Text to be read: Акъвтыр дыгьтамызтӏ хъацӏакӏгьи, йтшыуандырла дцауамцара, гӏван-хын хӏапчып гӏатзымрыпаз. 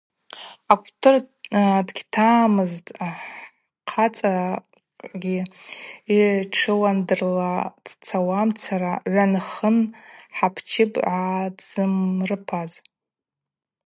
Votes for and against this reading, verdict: 2, 0, accepted